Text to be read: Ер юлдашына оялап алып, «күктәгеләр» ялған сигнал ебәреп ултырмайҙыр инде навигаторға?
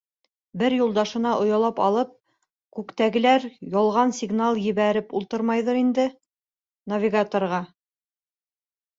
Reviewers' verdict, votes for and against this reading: rejected, 0, 2